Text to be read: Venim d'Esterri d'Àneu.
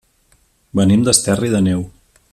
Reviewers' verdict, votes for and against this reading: rejected, 1, 2